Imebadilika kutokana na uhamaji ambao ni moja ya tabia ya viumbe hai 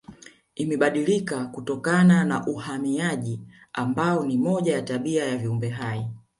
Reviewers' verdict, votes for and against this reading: accepted, 2, 1